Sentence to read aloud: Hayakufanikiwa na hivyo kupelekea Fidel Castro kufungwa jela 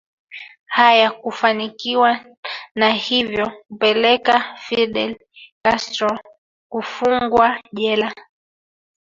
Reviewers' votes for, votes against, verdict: 1, 2, rejected